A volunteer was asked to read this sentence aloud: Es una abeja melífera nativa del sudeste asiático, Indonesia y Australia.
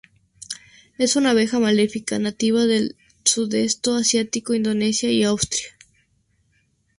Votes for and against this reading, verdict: 0, 2, rejected